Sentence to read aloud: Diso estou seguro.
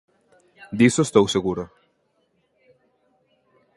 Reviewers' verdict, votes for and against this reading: rejected, 1, 2